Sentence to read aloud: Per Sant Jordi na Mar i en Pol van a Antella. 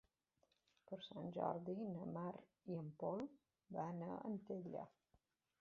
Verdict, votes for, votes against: rejected, 1, 2